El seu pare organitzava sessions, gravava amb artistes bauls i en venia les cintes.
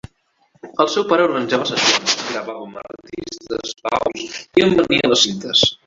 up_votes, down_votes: 0, 3